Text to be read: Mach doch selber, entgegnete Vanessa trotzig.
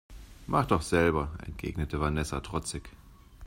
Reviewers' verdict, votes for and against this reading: accepted, 2, 0